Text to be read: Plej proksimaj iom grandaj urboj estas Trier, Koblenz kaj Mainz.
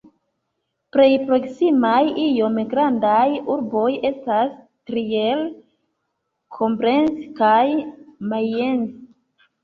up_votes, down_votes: 3, 1